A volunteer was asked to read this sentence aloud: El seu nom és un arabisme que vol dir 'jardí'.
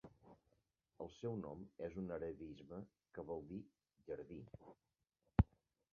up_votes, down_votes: 0, 2